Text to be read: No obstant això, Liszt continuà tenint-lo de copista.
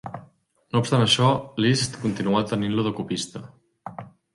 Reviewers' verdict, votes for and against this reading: accepted, 2, 0